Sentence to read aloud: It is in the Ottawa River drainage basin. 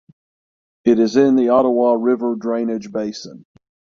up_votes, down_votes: 6, 0